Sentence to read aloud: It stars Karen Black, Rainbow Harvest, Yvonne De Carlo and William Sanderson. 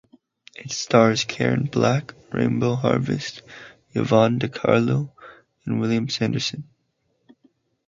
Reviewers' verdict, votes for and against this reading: rejected, 2, 4